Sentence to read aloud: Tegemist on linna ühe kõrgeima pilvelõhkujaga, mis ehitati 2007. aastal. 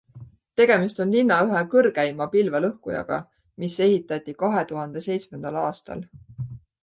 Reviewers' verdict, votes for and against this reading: rejected, 0, 2